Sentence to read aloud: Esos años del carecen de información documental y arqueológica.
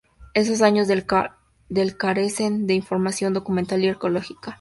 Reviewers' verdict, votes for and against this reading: rejected, 0, 4